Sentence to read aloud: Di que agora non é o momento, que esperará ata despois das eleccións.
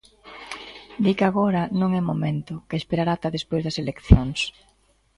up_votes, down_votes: 2, 1